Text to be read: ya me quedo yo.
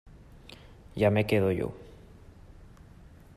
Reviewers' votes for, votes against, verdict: 2, 0, accepted